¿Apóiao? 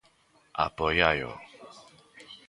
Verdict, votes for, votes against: rejected, 0, 2